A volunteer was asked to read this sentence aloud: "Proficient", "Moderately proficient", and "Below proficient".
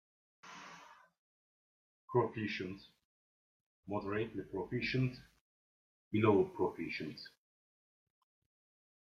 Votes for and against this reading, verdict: 0, 2, rejected